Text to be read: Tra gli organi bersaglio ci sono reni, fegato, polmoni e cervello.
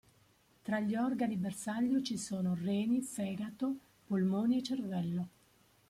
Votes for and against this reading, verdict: 2, 0, accepted